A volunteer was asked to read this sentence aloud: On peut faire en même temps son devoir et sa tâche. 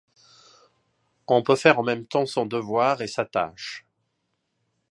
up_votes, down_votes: 2, 0